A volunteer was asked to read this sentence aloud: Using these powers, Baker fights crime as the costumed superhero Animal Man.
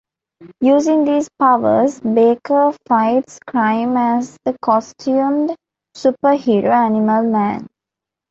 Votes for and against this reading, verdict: 2, 0, accepted